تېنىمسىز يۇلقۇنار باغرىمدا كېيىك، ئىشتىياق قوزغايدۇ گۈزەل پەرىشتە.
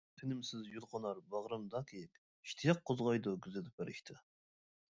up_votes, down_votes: 0, 2